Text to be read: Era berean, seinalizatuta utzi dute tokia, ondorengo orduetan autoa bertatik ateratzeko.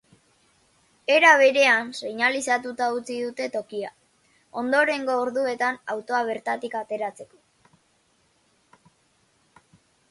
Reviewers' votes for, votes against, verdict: 3, 0, accepted